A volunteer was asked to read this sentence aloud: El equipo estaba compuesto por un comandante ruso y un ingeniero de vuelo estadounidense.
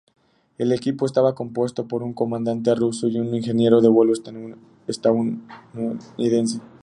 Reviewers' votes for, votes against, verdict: 0, 2, rejected